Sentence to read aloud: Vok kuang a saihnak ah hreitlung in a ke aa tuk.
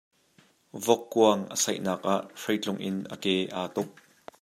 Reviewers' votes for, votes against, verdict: 2, 0, accepted